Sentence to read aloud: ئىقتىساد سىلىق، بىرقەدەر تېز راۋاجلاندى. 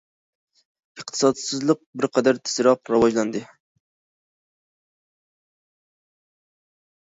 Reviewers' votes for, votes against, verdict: 0, 2, rejected